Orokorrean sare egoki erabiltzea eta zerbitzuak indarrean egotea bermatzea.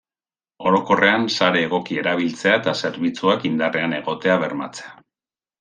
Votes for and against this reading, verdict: 2, 0, accepted